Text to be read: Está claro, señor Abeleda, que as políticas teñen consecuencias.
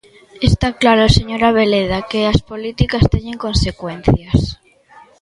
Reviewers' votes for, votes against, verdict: 1, 2, rejected